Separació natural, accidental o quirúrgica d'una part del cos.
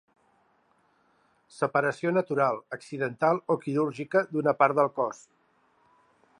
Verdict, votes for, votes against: accepted, 3, 0